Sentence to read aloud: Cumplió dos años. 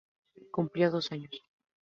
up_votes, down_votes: 4, 0